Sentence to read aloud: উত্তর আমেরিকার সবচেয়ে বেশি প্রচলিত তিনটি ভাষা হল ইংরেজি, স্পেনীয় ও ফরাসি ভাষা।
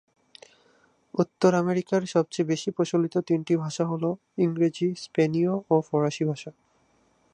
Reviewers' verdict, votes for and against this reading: rejected, 0, 2